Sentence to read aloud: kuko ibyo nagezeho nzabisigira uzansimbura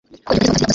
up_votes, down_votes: 1, 2